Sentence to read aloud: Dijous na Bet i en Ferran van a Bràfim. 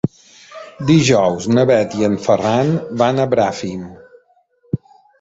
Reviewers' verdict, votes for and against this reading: rejected, 0, 2